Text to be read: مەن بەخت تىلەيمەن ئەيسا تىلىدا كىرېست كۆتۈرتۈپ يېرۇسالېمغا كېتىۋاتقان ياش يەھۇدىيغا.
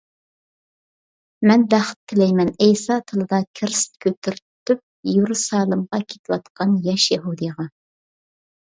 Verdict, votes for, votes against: rejected, 1, 2